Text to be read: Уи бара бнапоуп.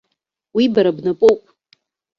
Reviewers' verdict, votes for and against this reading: accepted, 2, 0